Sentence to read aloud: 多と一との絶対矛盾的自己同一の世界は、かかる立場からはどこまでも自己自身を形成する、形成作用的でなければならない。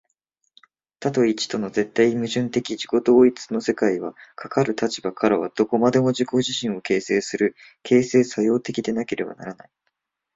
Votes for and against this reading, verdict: 2, 0, accepted